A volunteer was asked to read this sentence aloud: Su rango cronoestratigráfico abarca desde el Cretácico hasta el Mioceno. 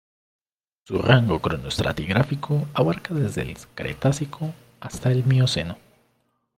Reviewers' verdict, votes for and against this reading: rejected, 1, 2